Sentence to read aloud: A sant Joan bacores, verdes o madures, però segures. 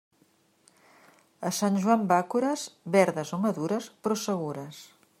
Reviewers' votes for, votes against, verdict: 1, 2, rejected